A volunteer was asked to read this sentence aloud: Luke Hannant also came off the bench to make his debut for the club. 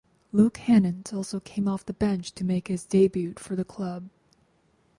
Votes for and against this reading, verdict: 4, 0, accepted